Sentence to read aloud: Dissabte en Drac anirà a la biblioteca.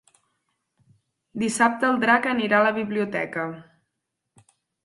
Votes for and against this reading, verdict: 2, 6, rejected